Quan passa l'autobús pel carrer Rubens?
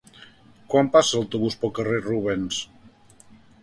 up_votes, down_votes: 0, 2